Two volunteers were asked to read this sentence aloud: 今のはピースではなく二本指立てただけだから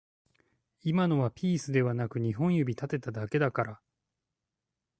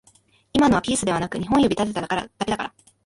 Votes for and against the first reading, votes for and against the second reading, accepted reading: 2, 0, 1, 2, first